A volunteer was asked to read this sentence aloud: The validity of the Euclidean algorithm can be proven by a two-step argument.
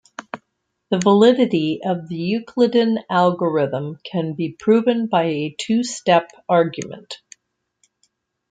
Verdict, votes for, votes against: accepted, 2, 0